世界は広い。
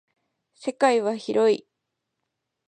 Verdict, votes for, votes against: accepted, 2, 0